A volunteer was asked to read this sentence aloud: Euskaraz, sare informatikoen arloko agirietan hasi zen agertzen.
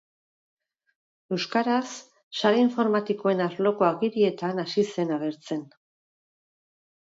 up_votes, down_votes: 6, 0